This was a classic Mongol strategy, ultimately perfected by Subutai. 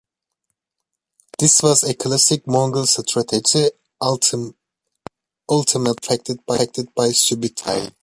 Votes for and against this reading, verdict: 0, 3, rejected